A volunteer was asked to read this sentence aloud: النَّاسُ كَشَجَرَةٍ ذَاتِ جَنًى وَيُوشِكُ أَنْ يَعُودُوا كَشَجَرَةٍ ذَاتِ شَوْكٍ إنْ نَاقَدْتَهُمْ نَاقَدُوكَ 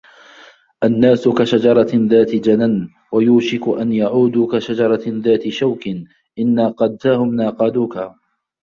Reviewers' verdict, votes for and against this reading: accepted, 2, 1